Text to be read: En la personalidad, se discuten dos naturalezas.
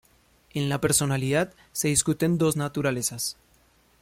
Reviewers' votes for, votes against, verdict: 2, 0, accepted